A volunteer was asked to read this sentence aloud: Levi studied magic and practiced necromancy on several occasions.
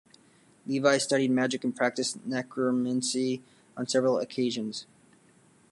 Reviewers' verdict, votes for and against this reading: accepted, 2, 0